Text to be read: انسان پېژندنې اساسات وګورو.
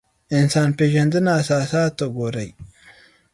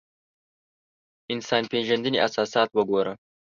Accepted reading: second